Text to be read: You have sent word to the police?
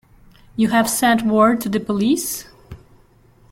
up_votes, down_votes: 2, 0